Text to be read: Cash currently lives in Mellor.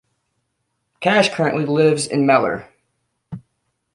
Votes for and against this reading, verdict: 2, 0, accepted